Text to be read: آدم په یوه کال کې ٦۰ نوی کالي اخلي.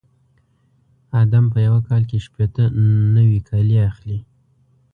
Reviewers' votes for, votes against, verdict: 0, 2, rejected